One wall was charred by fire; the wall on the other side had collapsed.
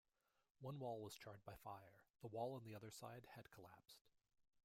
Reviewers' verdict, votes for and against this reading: rejected, 1, 2